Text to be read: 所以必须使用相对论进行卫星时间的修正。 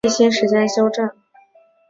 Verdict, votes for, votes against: rejected, 3, 4